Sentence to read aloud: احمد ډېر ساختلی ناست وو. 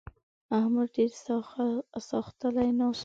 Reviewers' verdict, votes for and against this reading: rejected, 1, 2